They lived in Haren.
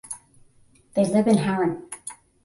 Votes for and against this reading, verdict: 5, 5, rejected